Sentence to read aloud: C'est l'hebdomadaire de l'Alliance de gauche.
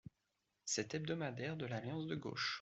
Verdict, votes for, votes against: rejected, 0, 2